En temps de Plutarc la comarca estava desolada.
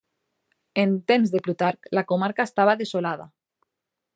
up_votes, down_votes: 2, 1